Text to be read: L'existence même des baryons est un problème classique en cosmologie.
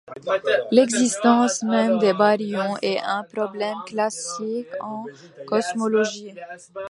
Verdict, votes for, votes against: rejected, 1, 2